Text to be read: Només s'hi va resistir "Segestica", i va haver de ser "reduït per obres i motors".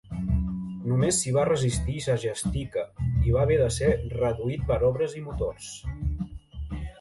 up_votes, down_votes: 5, 0